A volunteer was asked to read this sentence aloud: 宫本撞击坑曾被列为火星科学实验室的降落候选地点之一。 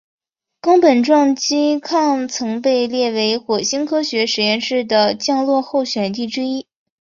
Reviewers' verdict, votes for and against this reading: rejected, 1, 2